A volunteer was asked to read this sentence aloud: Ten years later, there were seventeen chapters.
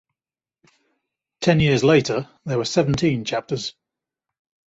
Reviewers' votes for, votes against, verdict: 2, 0, accepted